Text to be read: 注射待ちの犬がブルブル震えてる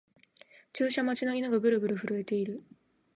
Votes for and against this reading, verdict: 1, 2, rejected